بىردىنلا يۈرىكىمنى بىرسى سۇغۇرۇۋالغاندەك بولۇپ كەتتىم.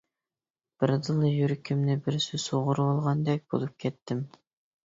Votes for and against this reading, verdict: 2, 0, accepted